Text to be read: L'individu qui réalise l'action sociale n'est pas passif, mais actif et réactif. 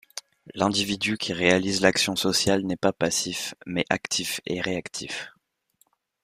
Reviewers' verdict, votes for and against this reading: accepted, 2, 0